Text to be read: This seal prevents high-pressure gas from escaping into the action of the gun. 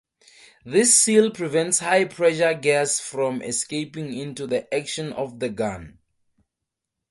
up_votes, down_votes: 4, 0